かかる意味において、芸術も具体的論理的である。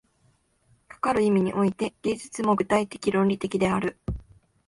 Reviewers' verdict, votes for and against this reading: rejected, 1, 2